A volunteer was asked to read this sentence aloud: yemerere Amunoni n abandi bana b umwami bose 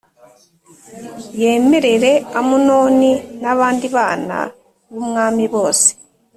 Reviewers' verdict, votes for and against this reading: accepted, 2, 0